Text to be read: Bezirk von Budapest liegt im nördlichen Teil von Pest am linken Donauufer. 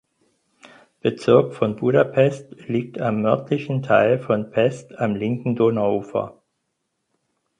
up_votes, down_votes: 0, 4